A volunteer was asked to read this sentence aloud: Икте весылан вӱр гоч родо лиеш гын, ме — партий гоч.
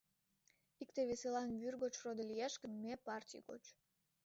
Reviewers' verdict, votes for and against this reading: accepted, 2, 0